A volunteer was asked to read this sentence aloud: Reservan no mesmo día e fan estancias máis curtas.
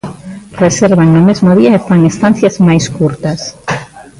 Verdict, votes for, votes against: rejected, 0, 2